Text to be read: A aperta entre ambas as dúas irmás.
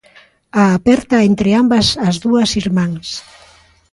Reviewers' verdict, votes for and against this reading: accepted, 2, 1